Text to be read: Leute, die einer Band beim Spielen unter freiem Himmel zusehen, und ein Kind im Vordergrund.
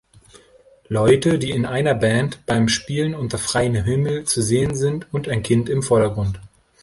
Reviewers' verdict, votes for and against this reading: rejected, 0, 2